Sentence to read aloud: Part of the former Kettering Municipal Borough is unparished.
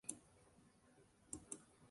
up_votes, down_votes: 0, 2